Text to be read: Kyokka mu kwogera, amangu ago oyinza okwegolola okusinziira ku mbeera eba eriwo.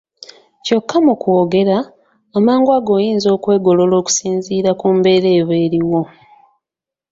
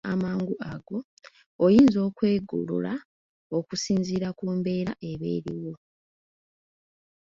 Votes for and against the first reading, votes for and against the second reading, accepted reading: 2, 1, 0, 2, first